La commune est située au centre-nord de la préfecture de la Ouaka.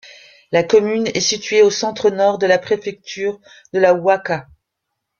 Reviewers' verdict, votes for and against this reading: rejected, 1, 2